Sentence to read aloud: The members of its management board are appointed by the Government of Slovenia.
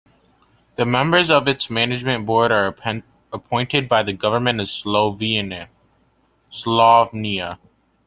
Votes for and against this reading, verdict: 0, 2, rejected